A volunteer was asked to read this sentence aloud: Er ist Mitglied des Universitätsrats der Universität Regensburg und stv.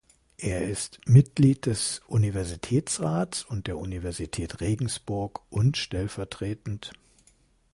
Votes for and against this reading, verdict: 0, 2, rejected